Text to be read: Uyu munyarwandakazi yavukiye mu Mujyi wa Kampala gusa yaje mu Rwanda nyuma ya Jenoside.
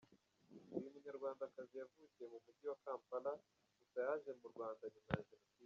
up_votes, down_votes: 0, 2